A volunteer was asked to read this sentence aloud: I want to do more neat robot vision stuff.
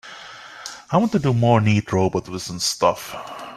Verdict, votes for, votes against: rejected, 1, 2